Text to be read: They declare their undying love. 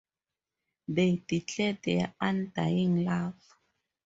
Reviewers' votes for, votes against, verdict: 2, 0, accepted